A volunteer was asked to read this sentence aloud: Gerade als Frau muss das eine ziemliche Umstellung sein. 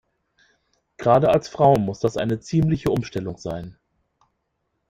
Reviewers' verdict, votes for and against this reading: rejected, 0, 2